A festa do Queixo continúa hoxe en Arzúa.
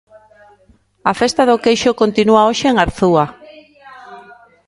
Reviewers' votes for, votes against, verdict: 1, 2, rejected